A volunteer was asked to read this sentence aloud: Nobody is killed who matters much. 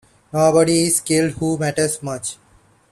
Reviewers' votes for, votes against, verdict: 2, 1, accepted